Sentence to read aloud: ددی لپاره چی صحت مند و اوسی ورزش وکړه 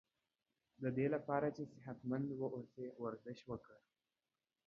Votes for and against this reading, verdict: 2, 0, accepted